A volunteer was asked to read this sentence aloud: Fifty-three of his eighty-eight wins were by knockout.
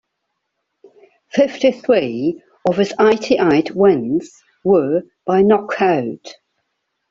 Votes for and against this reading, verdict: 2, 1, accepted